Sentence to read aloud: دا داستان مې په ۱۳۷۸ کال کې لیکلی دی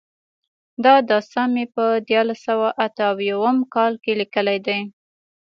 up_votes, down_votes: 0, 2